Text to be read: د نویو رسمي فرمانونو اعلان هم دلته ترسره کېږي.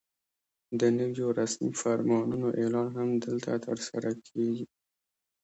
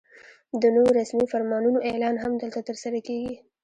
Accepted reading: first